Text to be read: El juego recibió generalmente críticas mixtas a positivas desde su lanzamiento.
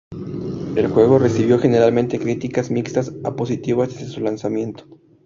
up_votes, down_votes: 0, 2